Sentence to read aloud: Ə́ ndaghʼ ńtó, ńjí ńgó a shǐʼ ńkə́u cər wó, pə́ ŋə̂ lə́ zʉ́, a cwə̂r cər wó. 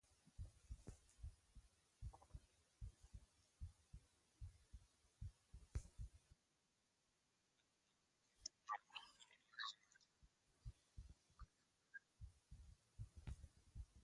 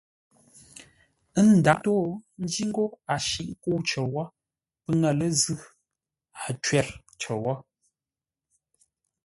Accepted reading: second